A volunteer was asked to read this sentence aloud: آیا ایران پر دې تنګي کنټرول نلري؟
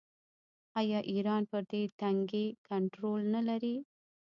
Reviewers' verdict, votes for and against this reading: rejected, 0, 2